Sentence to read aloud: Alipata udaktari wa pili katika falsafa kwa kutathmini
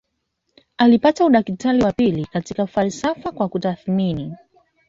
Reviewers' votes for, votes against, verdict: 2, 0, accepted